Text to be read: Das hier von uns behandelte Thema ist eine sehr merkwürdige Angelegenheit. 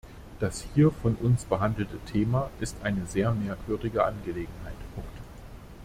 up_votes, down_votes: 0, 2